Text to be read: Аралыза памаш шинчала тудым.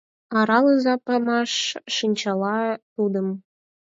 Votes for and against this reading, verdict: 4, 2, accepted